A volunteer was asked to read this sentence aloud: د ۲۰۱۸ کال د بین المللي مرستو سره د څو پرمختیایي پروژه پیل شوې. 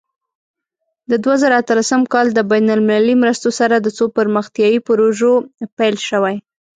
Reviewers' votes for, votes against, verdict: 0, 2, rejected